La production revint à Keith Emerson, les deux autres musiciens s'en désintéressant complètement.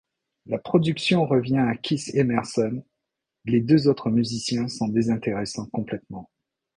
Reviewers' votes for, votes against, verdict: 0, 2, rejected